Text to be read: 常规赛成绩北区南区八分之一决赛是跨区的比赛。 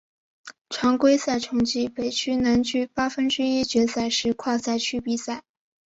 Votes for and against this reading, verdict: 2, 2, rejected